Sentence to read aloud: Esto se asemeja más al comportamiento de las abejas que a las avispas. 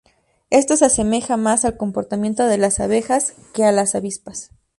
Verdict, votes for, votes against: accepted, 2, 0